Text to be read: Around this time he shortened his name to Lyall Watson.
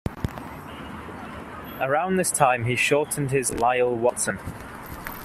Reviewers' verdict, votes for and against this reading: rejected, 0, 2